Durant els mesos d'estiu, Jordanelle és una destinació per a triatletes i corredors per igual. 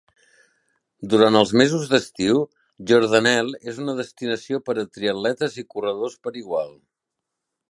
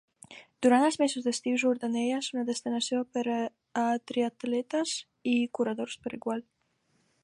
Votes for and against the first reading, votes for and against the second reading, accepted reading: 3, 0, 1, 2, first